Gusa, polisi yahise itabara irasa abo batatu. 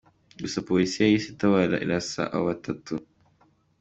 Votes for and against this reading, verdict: 2, 1, accepted